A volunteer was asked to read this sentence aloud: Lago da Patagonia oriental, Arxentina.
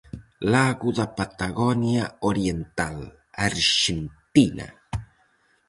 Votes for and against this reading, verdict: 4, 0, accepted